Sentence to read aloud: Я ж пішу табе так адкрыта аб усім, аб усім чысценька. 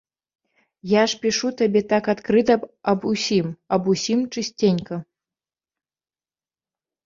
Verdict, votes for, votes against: rejected, 1, 2